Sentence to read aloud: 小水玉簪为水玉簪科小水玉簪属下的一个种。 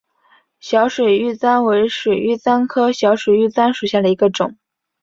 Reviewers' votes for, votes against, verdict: 2, 0, accepted